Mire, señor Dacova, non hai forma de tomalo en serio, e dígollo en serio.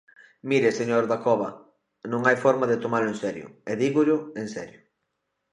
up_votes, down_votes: 2, 0